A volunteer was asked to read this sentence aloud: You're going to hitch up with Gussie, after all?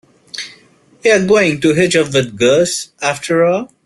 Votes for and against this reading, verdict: 0, 2, rejected